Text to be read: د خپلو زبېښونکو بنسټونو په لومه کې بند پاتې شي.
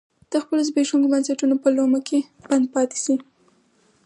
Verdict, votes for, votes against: accepted, 4, 2